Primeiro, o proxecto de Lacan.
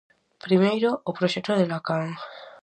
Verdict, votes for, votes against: rejected, 2, 2